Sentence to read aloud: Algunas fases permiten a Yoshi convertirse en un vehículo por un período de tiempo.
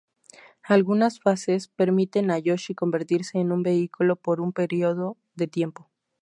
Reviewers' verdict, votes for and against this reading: rejected, 0, 2